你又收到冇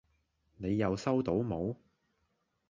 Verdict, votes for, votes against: accepted, 2, 0